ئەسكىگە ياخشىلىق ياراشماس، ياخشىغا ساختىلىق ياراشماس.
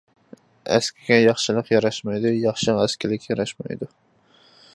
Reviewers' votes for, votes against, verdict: 0, 2, rejected